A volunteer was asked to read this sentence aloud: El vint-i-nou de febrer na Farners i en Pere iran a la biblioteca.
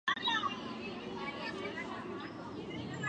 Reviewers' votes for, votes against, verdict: 0, 2, rejected